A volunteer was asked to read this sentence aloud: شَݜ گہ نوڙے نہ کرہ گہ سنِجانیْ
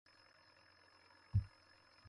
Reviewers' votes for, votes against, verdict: 0, 2, rejected